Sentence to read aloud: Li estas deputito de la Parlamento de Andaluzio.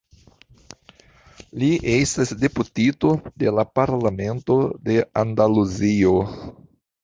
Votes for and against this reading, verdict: 2, 0, accepted